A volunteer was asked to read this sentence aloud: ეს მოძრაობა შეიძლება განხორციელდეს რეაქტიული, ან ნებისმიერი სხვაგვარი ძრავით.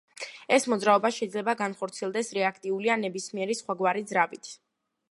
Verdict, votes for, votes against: accepted, 2, 1